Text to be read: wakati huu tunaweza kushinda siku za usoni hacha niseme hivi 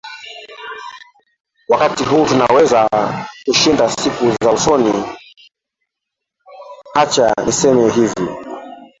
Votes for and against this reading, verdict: 0, 2, rejected